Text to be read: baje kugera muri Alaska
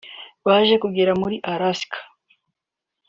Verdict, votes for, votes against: accepted, 2, 0